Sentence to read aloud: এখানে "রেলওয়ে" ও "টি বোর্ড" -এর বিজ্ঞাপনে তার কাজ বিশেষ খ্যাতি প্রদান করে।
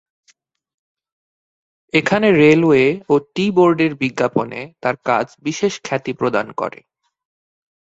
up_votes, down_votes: 4, 0